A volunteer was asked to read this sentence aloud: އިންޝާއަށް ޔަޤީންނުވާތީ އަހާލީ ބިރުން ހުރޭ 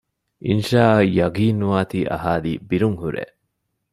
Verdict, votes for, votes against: accepted, 2, 0